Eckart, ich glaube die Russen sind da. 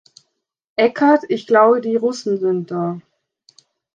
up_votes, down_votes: 2, 0